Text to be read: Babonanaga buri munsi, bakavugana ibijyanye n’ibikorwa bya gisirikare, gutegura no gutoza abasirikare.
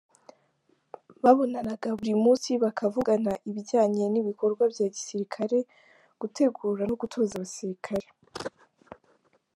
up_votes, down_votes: 2, 0